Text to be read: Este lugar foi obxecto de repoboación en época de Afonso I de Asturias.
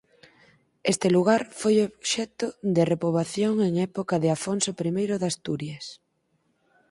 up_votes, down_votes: 4, 2